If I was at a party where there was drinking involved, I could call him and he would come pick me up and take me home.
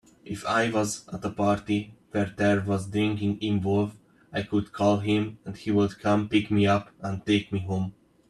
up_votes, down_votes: 2, 1